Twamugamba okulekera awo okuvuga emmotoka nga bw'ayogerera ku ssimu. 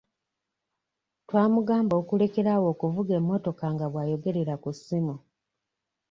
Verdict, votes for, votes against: accepted, 2, 0